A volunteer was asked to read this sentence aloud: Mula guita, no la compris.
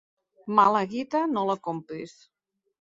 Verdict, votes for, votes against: accepted, 2, 1